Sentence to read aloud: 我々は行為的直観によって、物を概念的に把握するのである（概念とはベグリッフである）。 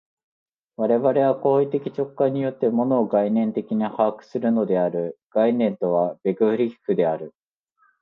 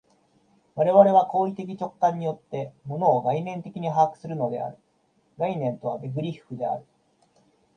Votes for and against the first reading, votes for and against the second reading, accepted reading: 2, 0, 0, 2, first